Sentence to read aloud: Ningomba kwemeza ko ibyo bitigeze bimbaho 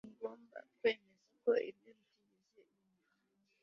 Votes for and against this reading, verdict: 0, 2, rejected